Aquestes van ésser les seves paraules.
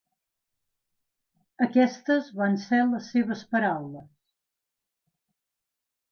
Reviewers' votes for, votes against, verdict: 0, 2, rejected